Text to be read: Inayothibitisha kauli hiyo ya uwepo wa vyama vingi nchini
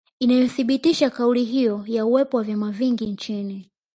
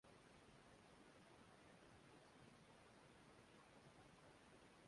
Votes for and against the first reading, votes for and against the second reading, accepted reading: 2, 0, 1, 2, first